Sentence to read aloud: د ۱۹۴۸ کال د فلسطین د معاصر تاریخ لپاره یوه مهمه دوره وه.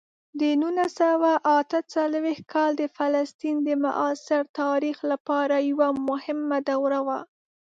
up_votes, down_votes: 0, 2